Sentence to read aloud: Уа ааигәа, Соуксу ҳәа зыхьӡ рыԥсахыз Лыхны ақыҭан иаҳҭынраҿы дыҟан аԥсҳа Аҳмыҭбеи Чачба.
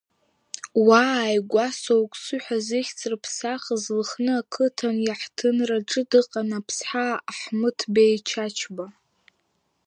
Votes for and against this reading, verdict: 2, 1, accepted